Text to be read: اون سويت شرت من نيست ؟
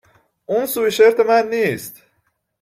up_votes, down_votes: 0, 2